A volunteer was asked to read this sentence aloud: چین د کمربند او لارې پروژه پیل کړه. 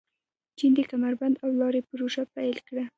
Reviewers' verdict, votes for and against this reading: accepted, 2, 0